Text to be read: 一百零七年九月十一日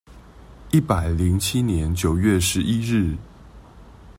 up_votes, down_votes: 2, 0